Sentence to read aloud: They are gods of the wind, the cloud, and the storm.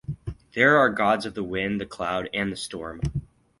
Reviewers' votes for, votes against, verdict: 4, 0, accepted